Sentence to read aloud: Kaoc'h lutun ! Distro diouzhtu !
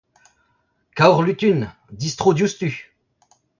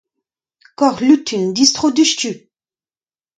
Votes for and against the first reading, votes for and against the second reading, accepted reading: 0, 2, 2, 0, second